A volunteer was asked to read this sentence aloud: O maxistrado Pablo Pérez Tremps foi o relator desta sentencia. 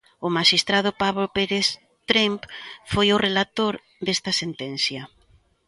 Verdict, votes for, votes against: rejected, 1, 2